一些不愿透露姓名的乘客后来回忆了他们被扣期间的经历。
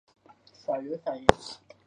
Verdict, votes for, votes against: accepted, 2, 0